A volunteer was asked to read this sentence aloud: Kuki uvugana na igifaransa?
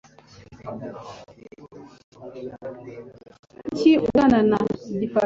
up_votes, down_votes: 2, 3